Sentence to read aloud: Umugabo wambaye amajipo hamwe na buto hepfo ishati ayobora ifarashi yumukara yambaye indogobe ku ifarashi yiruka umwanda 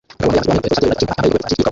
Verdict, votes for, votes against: rejected, 0, 2